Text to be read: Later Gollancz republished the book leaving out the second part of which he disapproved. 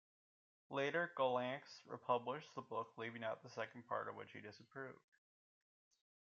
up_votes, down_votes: 2, 0